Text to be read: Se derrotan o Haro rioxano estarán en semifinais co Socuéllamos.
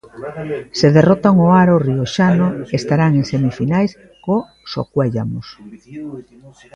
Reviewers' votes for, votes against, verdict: 0, 2, rejected